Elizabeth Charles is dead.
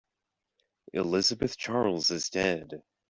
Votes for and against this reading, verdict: 2, 0, accepted